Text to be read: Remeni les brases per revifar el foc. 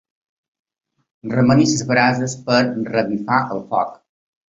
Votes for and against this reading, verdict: 1, 2, rejected